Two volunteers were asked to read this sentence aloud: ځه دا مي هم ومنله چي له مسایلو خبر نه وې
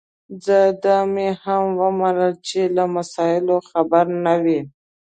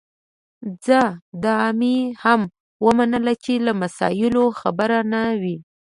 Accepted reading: second